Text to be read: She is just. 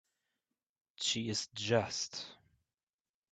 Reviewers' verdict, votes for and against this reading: accepted, 2, 1